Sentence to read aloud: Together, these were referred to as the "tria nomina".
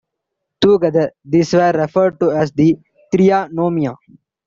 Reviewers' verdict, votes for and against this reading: accepted, 2, 1